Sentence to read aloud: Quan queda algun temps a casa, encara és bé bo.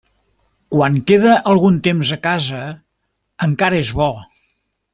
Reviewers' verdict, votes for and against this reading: rejected, 1, 2